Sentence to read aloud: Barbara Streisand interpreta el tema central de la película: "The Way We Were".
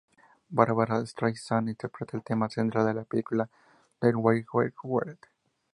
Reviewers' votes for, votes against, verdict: 0, 2, rejected